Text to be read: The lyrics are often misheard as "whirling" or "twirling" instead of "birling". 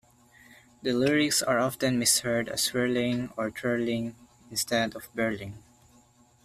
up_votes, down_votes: 2, 0